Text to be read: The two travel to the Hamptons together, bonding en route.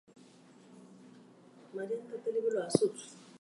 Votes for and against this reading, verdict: 0, 4, rejected